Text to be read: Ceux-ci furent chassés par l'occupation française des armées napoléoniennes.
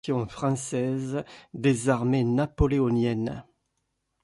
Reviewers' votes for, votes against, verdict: 1, 2, rejected